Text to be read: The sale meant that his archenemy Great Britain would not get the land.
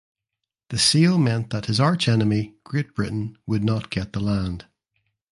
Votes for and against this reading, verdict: 2, 1, accepted